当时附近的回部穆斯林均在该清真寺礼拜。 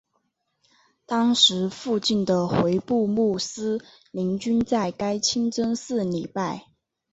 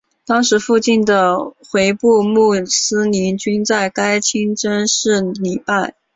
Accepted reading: first